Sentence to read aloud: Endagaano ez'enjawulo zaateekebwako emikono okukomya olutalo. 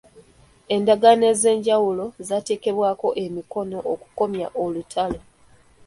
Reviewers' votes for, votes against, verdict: 2, 1, accepted